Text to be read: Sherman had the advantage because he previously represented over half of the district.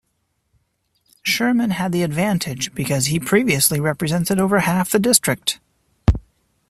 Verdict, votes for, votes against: rejected, 0, 2